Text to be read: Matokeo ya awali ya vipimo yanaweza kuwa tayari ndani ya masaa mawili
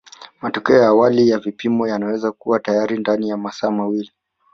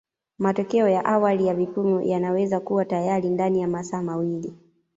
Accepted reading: first